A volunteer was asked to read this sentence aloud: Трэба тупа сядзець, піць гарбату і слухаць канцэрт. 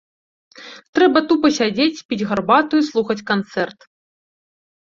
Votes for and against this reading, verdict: 2, 0, accepted